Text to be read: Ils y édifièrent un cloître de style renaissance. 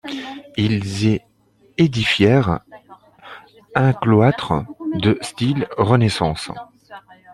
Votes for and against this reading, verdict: 2, 1, accepted